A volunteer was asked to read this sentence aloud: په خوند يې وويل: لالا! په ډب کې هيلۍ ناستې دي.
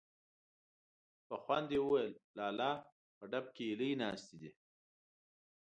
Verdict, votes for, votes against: accepted, 2, 0